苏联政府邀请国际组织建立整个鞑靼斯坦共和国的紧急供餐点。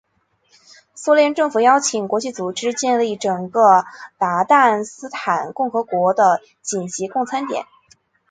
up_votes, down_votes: 2, 3